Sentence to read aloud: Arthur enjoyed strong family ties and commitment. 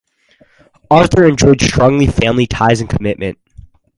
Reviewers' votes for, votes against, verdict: 0, 2, rejected